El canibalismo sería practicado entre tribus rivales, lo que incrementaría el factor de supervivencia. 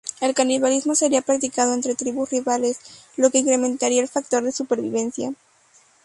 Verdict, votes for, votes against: accepted, 2, 0